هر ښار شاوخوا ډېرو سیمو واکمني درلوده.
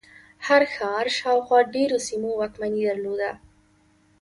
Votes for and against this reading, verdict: 2, 0, accepted